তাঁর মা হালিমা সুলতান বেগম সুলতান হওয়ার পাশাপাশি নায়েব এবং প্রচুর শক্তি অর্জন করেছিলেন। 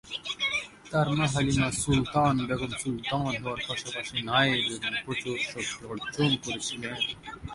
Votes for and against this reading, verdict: 2, 2, rejected